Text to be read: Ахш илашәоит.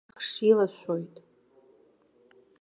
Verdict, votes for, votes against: rejected, 1, 2